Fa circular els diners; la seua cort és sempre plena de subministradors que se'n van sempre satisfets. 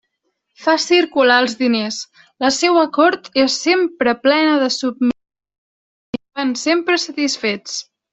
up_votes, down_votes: 1, 2